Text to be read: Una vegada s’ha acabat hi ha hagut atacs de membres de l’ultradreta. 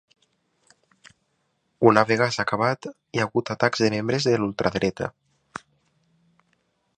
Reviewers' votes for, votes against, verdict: 1, 3, rejected